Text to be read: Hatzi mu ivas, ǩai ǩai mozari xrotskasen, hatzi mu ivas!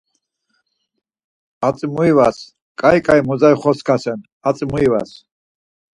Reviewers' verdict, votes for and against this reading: accepted, 4, 0